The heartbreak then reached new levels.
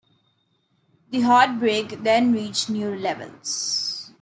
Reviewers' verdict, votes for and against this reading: rejected, 1, 2